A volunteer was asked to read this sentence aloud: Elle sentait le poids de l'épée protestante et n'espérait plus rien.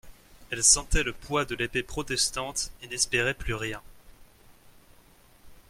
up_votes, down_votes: 2, 0